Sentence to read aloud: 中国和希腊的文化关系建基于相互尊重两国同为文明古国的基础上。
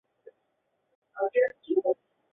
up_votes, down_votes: 0, 2